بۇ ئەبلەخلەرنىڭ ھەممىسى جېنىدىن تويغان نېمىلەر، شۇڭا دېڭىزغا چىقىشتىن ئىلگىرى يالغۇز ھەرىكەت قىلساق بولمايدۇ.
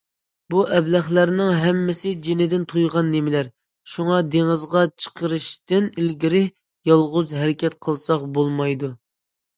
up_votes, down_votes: 0, 2